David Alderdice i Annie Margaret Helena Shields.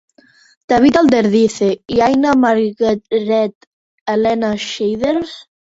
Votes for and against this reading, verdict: 0, 2, rejected